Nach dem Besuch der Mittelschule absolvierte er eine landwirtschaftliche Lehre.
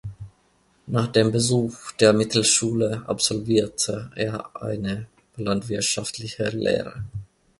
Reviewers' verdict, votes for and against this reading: accepted, 2, 0